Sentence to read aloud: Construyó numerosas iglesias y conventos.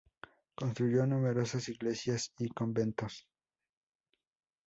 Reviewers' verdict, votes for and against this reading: accepted, 2, 0